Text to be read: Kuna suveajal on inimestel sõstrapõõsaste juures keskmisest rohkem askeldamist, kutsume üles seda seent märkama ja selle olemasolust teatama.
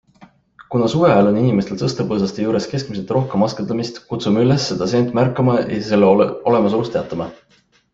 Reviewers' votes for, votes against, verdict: 2, 1, accepted